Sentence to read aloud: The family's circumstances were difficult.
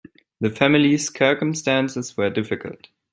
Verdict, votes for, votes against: rejected, 0, 2